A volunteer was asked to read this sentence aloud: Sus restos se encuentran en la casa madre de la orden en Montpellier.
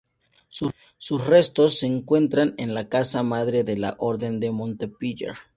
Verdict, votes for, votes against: rejected, 0, 2